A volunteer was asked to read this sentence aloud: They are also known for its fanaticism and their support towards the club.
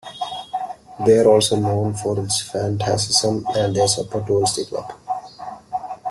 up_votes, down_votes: 0, 2